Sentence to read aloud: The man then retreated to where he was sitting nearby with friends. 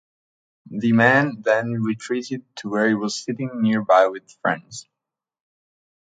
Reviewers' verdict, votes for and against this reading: accepted, 2, 0